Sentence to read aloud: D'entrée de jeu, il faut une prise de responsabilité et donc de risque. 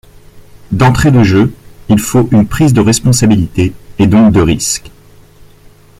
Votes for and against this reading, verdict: 1, 2, rejected